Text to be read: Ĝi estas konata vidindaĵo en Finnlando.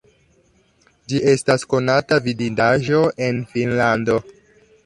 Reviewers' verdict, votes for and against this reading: rejected, 1, 2